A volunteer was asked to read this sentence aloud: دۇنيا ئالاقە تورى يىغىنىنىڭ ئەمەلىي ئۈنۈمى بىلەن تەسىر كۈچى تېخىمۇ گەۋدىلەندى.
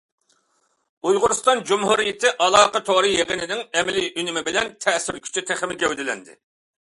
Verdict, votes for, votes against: rejected, 0, 2